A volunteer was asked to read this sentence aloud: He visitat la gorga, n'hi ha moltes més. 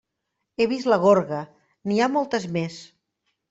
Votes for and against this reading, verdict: 1, 3, rejected